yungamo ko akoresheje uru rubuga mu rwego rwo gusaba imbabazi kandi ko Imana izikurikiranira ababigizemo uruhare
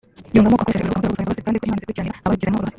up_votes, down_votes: 0, 3